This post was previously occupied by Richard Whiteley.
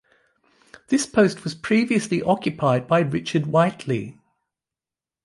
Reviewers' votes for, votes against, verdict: 2, 0, accepted